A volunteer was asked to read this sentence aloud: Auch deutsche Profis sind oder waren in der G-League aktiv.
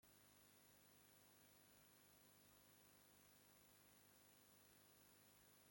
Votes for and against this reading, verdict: 0, 2, rejected